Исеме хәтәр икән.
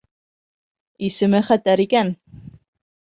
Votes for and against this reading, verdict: 2, 0, accepted